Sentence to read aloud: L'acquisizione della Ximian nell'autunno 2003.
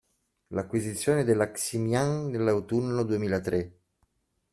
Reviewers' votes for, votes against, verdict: 0, 2, rejected